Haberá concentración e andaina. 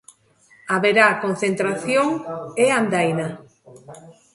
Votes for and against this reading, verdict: 1, 2, rejected